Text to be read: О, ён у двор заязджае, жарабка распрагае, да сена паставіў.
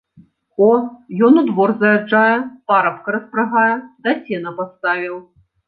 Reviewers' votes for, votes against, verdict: 0, 3, rejected